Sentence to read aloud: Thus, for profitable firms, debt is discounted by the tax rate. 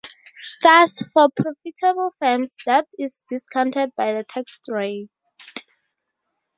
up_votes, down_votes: 2, 0